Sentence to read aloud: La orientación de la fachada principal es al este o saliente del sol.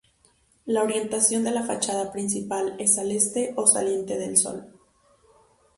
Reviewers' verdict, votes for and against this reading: accepted, 2, 0